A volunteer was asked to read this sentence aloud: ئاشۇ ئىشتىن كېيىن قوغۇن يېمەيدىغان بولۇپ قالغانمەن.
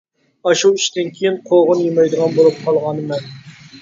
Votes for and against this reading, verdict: 0, 2, rejected